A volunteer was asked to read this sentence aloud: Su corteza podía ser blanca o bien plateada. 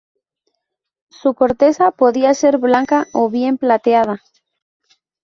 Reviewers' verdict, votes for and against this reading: accepted, 2, 0